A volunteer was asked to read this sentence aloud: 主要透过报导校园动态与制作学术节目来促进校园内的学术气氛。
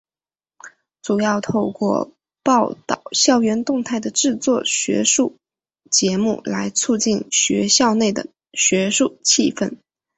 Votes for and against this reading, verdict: 2, 0, accepted